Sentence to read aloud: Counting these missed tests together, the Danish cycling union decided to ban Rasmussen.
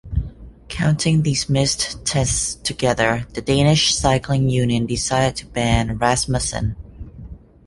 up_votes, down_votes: 2, 0